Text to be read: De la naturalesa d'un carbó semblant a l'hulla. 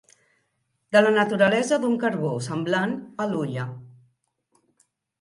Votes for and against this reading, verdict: 2, 0, accepted